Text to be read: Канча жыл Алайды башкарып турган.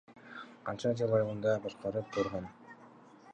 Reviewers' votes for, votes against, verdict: 2, 0, accepted